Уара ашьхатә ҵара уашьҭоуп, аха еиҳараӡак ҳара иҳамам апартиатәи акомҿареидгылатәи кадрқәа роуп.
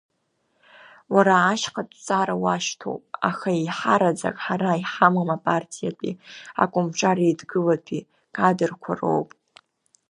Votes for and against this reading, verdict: 2, 0, accepted